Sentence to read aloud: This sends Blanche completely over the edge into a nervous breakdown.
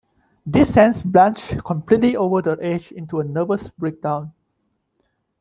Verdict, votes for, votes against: rejected, 1, 2